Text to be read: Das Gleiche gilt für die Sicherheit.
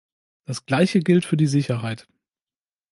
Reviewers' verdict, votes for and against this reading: accepted, 2, 0